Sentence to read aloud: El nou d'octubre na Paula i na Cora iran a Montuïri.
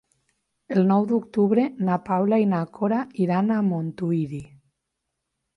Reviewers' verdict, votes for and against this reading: accepted, 2, 0